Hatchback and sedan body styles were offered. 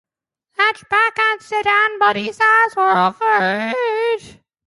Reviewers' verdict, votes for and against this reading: accepted, 2, 0